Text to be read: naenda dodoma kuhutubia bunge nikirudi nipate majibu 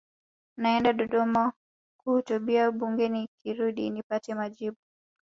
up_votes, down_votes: 2, 0